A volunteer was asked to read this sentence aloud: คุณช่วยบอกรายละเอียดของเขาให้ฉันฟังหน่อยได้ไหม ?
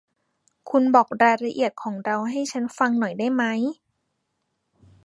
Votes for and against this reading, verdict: 0, 2, rejected